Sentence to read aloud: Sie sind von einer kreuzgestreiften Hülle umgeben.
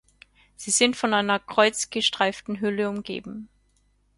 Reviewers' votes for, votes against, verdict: 4, 0, accepted